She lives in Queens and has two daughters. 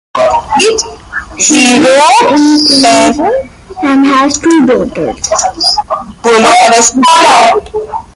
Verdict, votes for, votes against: rejected, 0, 2